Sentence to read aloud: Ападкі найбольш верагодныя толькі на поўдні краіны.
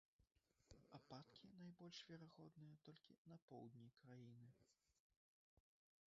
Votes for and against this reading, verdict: 1, 2, rejected